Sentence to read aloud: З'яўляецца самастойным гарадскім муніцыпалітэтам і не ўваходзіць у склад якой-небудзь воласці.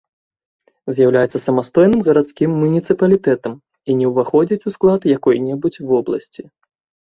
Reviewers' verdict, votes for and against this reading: rejected, 0, 2